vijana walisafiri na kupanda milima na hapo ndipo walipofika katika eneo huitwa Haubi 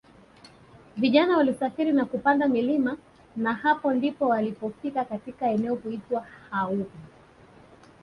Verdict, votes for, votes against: accepted, 3, 0